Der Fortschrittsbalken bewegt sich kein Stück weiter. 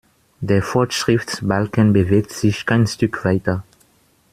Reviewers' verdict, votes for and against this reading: accepted, 2, 0